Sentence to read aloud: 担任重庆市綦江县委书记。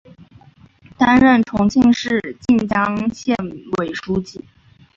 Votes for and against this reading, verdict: 2, 1, accepted